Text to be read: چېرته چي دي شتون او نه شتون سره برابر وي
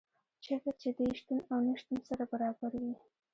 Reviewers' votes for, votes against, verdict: 1, 2, rejected